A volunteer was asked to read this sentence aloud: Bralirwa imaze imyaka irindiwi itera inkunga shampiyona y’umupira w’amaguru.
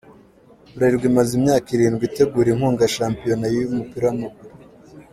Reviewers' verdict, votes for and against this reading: rejected, 1, 2